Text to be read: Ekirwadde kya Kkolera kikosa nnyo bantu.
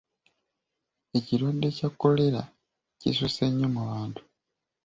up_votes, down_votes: 0, 2